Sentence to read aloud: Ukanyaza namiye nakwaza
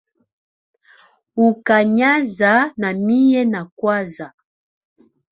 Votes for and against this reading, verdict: 2, 1, accepted